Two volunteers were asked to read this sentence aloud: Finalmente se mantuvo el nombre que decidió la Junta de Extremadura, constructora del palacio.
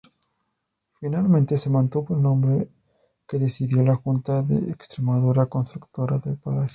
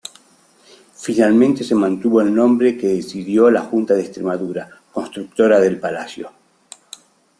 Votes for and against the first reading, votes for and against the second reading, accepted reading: 2, 0, 0, 2, first